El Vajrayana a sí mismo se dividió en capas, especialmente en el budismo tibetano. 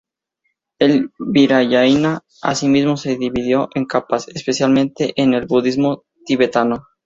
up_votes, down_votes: 0, 2